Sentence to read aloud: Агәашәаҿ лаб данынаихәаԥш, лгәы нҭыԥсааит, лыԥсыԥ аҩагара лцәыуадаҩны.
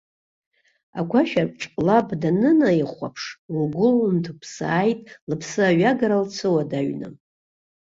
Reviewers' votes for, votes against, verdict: 1, 2, rejected